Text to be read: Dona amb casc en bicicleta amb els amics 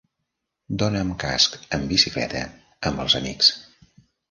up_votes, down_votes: 2, 0